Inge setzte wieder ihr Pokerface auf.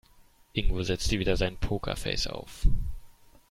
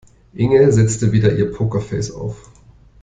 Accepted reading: second